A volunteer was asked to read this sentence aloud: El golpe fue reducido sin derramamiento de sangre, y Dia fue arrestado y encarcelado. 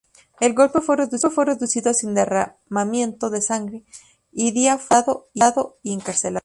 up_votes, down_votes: 0, 4